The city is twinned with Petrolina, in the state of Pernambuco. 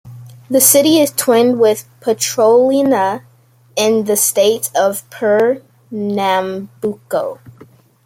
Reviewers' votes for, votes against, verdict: 1, 2, rejected